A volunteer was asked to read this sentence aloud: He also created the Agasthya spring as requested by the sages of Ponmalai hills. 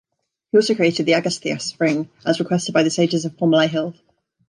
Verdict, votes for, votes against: accepted, 2, 1